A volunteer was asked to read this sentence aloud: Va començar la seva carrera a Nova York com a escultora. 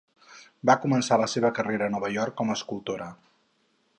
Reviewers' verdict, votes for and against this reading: accepted, 4, 0